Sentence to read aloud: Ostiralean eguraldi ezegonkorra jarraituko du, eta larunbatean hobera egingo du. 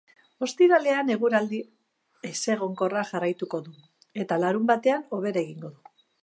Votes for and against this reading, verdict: 2, 0, accepted